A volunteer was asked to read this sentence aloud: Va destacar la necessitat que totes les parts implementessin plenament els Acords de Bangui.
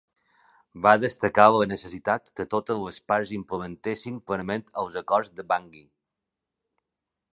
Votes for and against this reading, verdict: 2, 0, accepted